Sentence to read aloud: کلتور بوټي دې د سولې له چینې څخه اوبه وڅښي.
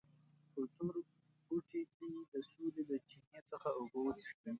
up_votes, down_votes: 0, 2